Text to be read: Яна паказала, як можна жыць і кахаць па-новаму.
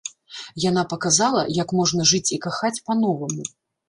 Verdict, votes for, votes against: accepted, 2, 0